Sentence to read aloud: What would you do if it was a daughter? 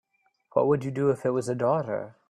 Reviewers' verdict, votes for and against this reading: accepted, 2, 0